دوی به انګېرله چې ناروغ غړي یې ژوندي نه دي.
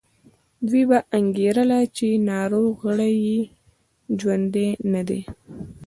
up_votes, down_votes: 2, 0